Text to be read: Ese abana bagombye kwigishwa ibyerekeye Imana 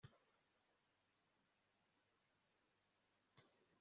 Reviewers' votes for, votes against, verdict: 1, 2, rejected